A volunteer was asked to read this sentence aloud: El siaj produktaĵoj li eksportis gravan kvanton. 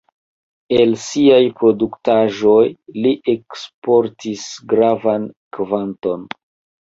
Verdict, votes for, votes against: accepted, 2, 0